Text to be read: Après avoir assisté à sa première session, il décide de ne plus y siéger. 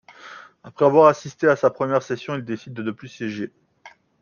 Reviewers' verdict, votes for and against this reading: rejected, 0, 2